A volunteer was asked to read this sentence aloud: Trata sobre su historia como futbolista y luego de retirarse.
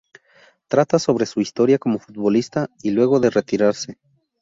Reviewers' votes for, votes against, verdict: 2, 0, accepted